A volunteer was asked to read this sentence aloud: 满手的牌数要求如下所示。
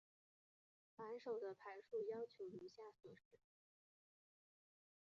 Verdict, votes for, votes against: rejected, 0, 2